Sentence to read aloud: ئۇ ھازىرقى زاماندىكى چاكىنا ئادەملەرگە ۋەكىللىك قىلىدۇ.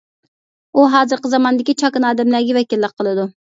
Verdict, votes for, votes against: accepted, 2, 0